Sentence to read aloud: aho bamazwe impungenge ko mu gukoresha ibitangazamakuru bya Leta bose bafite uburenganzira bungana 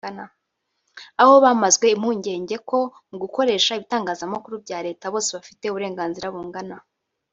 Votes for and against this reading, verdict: 3, 1, accepted